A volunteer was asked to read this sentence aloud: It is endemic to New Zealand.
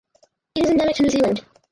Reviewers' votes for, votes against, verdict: 0, 2, rejected